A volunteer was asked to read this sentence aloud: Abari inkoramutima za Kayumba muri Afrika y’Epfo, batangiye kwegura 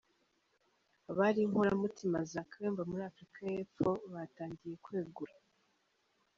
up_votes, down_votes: 1, 2